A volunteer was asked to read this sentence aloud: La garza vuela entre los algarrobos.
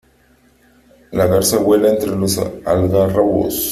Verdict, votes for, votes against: rejected, 1, 3